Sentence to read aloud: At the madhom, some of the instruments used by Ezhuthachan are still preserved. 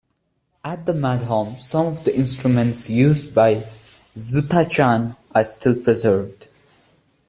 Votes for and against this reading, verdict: 2, 0, accepted